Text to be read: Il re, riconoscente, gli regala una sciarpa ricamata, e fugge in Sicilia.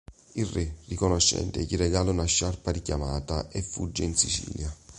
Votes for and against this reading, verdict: 2, 3, rejected